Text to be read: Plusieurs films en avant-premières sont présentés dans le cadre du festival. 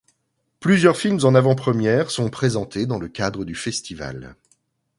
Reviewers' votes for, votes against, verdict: 2, 0, accepted